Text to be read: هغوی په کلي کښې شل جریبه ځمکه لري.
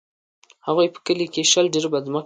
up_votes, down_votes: 1, 2